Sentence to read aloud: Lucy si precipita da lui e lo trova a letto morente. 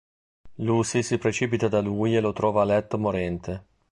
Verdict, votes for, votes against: accepted, 3, 0